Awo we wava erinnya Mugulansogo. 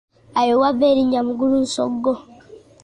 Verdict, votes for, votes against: rejected, 0, 2